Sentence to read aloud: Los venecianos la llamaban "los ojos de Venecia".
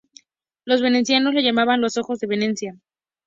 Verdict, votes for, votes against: rejected, 2, 2